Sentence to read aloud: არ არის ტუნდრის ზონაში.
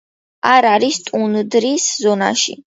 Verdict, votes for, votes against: accepted, 2, 0